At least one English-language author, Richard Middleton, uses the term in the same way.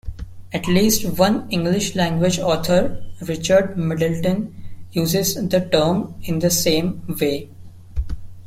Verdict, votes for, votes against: accepted, 2, 1